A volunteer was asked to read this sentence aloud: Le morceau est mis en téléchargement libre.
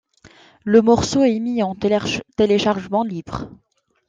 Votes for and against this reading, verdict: 0, 3, rejected